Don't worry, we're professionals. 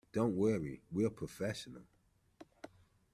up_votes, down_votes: 0, 2